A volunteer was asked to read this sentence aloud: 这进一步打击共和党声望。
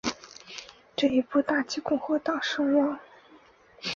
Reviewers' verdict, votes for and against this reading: accepted, 2, 1